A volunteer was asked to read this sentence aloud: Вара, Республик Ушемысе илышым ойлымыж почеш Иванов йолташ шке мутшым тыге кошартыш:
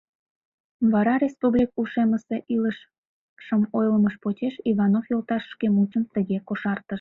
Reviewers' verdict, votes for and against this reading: rejected, 1, 2